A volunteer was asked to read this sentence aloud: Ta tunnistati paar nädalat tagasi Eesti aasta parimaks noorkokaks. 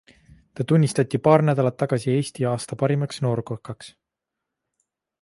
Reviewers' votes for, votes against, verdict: 2, 0, accepted